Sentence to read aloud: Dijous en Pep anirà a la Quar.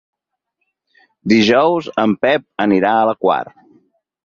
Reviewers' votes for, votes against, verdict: 6, 0, accepted